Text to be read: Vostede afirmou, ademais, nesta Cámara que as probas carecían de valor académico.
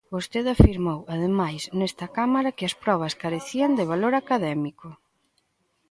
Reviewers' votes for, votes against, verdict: 2, 0, accepted